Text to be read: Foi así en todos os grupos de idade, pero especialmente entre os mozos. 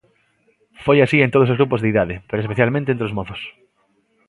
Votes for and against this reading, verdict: 2, 0, accepted